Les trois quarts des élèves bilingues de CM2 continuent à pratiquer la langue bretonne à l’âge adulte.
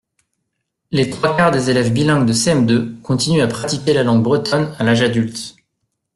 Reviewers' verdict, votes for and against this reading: rejected, 0, 2